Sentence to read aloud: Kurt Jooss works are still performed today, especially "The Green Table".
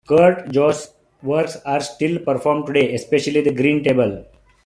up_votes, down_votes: 2, 0